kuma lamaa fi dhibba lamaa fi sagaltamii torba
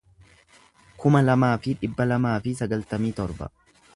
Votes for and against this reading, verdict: 2, 0, accepted